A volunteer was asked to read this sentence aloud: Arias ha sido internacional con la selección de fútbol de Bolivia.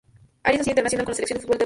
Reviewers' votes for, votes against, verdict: 0, 2, rejected